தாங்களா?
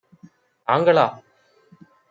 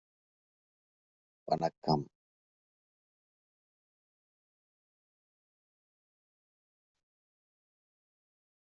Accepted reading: first